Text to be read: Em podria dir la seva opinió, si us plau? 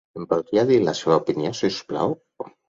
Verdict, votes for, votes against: accepted, 4, 0